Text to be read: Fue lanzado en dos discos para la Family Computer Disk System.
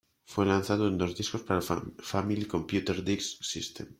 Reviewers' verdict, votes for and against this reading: rejected, 0, 2